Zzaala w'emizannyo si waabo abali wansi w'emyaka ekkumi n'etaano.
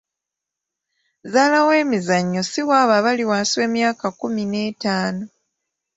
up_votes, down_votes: 2, 0